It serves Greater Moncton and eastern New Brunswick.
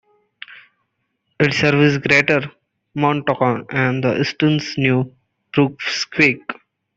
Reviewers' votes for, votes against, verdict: 0, 2, rejected